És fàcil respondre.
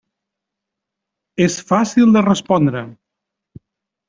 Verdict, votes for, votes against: rejected, 0, 2